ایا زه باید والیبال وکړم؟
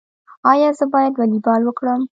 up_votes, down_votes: 2, 1